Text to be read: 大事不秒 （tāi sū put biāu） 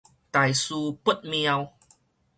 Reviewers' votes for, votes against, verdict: 4, 0, accepted